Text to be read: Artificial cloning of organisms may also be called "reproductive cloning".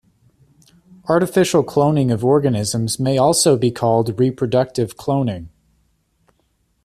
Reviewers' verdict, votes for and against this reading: accepted, 3, 0